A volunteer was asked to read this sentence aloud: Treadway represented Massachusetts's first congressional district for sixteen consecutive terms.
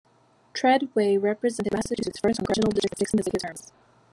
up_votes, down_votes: 1, 3